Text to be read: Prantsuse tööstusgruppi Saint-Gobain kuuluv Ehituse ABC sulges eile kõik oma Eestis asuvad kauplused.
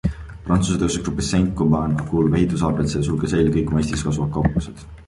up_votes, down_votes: 2, 0